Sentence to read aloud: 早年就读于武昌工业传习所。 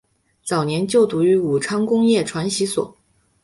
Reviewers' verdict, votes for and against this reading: accepted, 6, 0